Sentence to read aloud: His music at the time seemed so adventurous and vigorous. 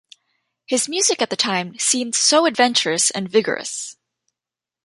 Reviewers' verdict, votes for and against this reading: accepted, 2, 0